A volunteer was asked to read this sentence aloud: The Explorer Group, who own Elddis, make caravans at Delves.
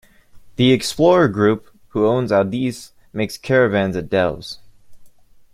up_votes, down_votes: 1, 2